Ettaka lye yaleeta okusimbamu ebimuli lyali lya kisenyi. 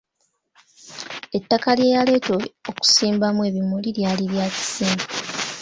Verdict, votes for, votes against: accepted, 2, 0